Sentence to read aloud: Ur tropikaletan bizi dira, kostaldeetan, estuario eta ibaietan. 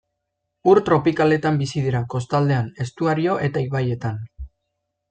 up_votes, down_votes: 2, 0